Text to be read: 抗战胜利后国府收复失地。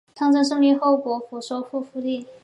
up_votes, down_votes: 6, 0